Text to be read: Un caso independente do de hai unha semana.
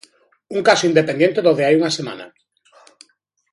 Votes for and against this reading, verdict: 1, 2, rejected